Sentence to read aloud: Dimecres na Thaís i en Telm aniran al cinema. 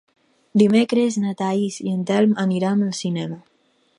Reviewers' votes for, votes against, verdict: 4, 0, accepted